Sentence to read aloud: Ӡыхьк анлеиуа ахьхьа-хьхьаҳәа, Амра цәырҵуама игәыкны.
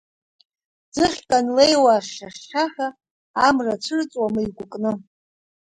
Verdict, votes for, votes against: accepted, 2, 0